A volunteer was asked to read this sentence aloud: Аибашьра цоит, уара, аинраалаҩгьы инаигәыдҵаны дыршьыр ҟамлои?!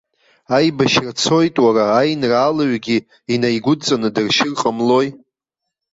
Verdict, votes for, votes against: accepted, 2, 0